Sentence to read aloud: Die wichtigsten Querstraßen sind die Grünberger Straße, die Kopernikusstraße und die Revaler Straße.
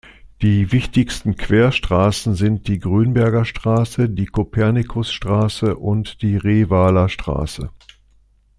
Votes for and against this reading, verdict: 3, 0, accepted